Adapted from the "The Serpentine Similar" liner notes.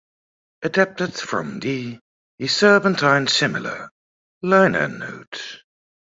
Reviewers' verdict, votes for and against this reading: rejected, 1, 2